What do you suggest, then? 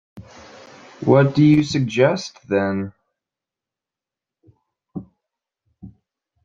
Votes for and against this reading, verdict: 2, 0, accepted